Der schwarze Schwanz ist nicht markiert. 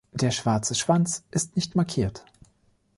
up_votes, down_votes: 2, 0